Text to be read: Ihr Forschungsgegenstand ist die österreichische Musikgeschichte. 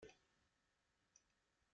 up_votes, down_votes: 0, 2